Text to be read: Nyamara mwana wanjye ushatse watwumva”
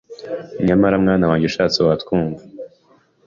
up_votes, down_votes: 2, 0